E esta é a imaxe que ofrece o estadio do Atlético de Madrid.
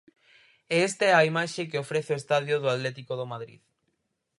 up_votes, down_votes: 4, 0